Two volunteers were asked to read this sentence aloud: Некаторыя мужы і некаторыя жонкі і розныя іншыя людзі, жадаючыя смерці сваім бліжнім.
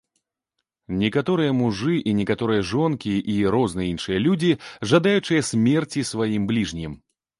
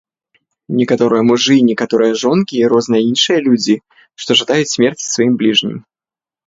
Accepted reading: first